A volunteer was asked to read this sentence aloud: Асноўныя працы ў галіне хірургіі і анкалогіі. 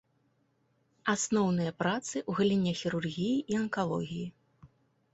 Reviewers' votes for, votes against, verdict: 2, 0, accepted